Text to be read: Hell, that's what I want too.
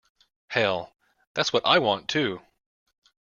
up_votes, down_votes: 2, 0